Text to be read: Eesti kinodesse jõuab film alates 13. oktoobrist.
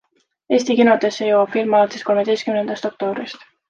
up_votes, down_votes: 0, 2